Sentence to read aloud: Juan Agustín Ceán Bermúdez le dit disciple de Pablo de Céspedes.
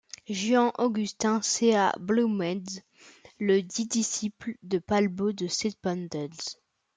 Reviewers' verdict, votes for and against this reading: rejected, 0, 2